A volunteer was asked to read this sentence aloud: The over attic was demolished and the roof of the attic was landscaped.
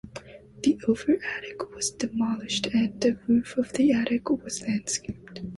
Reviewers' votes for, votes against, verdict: 3, 0, accepted